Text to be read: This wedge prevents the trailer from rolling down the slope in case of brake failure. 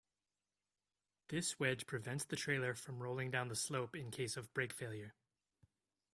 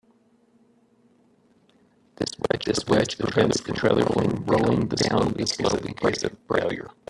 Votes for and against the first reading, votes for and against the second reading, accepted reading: 2, 0, 0, 2, first